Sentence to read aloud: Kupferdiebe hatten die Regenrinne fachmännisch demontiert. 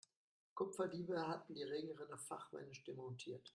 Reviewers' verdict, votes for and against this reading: accepted, 2, 0